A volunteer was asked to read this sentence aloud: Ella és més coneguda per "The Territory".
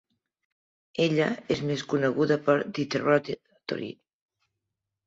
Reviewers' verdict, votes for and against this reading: rejected, 1, 2